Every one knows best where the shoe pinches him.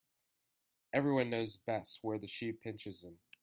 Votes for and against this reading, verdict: 2, 1, accepted